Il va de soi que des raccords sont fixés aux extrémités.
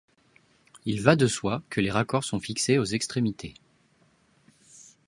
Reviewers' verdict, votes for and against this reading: rejected, 0, 2